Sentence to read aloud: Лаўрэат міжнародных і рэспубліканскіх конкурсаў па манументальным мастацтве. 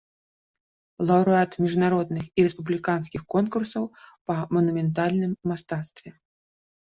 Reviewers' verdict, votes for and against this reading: accepted, 2, 1